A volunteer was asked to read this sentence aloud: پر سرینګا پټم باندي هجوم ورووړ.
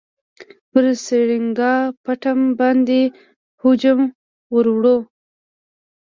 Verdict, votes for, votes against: accepted, 2, 0